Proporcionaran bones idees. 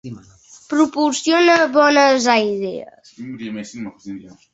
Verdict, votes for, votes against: rejected, 0, 2